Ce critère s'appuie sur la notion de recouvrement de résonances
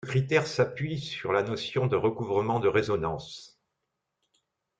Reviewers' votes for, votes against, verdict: 0, 2, rejected